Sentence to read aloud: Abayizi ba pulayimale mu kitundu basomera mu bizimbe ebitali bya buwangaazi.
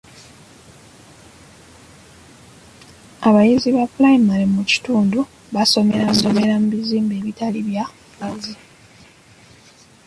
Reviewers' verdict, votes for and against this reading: rejected, 0, 2